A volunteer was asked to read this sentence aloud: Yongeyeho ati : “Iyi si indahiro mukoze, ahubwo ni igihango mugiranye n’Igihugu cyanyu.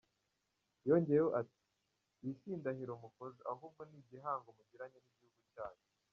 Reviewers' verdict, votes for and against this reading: rejected, 0, 2